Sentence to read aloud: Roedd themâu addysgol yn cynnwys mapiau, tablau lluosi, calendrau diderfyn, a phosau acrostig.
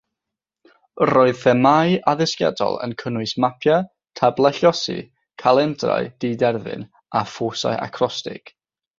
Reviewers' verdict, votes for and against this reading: rejected, 0, 6